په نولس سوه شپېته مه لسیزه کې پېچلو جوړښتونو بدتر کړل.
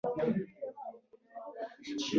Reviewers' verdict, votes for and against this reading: rejected, 0, 2